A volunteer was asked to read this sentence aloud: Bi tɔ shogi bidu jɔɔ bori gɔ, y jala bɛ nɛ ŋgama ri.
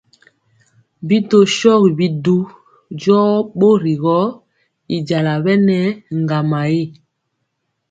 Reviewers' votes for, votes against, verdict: 2, 0, accepted